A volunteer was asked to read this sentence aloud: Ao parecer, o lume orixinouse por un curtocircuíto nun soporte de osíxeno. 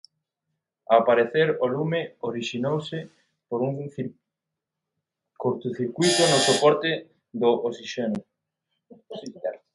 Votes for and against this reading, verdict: 0, 2, rejected